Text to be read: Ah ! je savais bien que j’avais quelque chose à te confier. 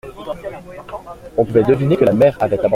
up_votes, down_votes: 0, 2